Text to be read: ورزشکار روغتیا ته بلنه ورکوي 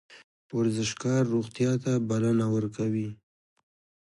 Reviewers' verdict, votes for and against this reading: accepted, 2, 1